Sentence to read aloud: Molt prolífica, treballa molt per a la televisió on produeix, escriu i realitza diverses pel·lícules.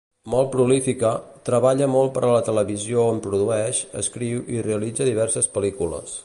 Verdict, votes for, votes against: accepted, 2, 0